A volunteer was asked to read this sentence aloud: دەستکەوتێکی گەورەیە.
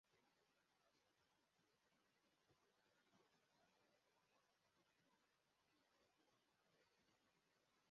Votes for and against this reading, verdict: 0, 2, rejected